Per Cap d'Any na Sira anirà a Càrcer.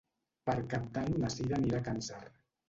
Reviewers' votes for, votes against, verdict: 1, 2, rejected